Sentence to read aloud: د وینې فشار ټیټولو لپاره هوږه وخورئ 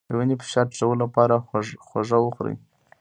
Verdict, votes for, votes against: rejected, 1, 2